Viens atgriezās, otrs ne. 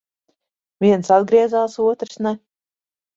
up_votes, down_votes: 2, 0